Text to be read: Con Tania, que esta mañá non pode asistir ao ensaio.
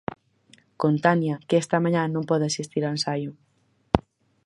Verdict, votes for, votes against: accepted, 6, 0